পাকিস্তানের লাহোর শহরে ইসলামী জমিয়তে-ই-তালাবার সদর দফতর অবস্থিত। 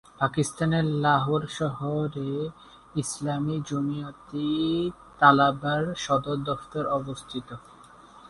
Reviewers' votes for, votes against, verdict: 0, 2, rejected